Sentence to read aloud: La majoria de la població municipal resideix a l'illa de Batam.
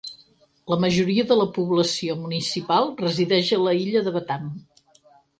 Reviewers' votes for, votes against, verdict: 2, 4, rejected